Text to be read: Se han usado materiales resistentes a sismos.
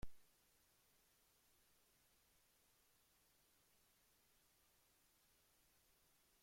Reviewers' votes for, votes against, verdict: 0, 2, rejected